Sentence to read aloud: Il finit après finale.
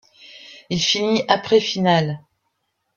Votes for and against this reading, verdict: 2, 0, accepted